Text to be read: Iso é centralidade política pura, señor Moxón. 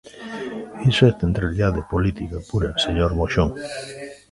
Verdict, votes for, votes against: rejected, 1, 2